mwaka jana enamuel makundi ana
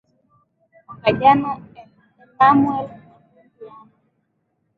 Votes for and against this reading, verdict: 0, 2, rejected